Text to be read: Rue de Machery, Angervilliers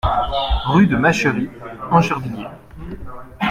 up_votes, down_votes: 2, 0